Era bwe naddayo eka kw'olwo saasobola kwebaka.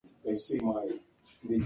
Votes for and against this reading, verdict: 0, 2, rejected